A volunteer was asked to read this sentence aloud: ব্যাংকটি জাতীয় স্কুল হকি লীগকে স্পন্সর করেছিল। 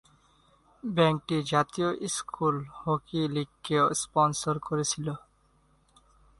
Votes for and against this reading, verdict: 2, 2, rejected